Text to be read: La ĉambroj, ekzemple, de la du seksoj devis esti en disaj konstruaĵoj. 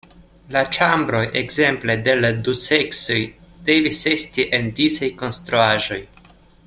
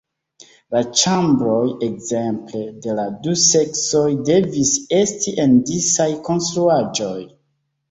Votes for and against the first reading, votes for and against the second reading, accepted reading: 2, 1, 1, 2, first